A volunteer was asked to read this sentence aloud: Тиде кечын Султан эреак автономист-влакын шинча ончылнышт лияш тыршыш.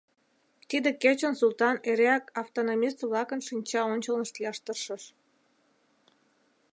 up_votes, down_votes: 2, 0